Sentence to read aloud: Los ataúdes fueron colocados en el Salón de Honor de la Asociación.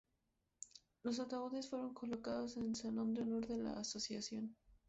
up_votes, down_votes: 2, 0